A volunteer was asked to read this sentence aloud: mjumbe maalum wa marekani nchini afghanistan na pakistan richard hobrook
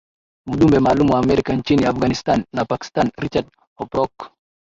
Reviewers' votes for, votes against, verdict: 0, 6, rejected